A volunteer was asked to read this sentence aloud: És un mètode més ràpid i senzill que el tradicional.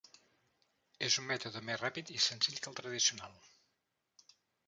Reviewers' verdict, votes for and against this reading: rejected, 0, 2